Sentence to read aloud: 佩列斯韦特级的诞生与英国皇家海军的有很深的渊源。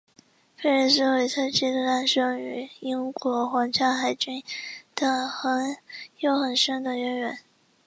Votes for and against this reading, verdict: 5, 3, accepted